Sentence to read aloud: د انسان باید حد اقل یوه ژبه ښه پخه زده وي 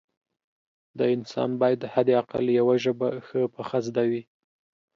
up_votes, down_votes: 2, 0